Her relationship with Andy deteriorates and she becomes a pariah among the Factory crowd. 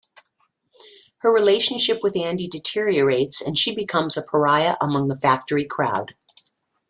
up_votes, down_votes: 2, 0